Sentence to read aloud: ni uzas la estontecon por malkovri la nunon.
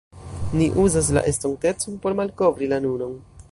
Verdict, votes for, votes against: rejected, 1, 2